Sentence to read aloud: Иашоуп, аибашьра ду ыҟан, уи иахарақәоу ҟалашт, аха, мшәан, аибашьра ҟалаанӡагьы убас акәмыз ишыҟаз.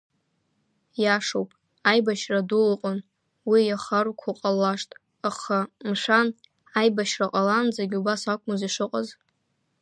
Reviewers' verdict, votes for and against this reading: rejected, 0, 2